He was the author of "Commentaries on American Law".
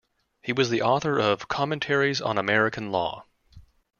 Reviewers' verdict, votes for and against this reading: accepted, 2, 0